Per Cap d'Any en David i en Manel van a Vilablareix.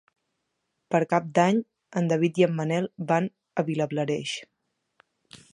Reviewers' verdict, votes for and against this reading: accepted, 2, 0